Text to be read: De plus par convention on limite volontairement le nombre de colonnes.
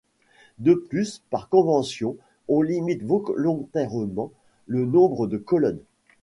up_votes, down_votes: 0, 2